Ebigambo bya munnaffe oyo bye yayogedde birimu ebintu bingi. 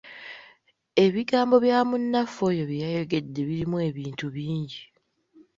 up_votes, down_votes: 2, 0